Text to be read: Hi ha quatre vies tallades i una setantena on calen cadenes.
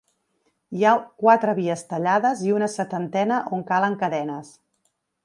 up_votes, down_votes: 4, 0